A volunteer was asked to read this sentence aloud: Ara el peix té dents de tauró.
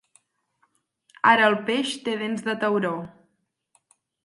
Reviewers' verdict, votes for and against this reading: accepted, 8, 0